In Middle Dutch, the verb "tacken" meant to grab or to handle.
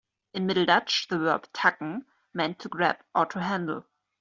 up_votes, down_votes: 2, 0